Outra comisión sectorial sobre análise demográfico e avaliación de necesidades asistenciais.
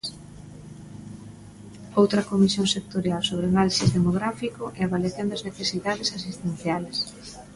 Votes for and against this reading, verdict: 0, 2, rejected